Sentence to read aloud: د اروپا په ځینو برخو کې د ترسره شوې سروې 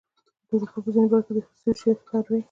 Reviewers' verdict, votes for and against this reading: rejected, 0, 2